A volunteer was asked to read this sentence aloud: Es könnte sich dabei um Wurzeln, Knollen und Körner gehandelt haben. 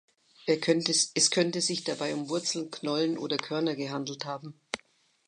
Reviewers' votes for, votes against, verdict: 0, 2, rejected